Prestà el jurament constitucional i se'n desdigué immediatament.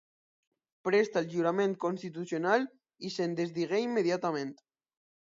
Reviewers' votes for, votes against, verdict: 1, 2, rejected